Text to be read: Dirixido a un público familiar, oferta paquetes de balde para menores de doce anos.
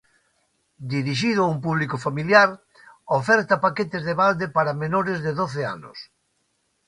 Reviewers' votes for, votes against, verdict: 2, 0, accepted